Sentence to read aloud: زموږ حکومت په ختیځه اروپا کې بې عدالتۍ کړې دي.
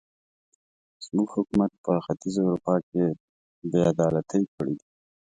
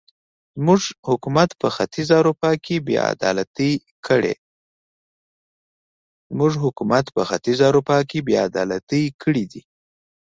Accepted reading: first